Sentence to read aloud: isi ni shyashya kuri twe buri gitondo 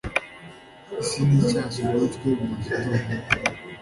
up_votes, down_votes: 2, 1